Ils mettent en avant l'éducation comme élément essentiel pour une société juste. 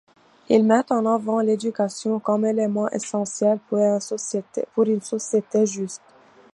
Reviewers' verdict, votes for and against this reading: rejected, 0, 2